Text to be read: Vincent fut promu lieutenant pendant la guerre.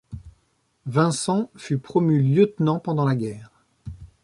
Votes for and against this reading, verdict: 2, 0, accepted